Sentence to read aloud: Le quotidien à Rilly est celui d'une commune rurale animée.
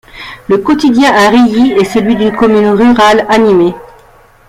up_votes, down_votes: 2, 1